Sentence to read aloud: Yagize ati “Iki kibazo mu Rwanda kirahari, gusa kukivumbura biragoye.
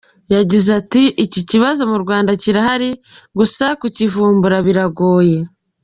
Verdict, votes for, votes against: accepted, 2, 1